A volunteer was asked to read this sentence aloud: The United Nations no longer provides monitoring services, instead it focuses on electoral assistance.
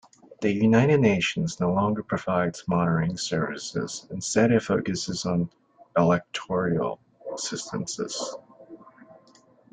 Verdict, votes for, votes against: rejected, 0, 2